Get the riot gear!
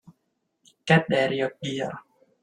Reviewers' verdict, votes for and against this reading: rejected, 0, 3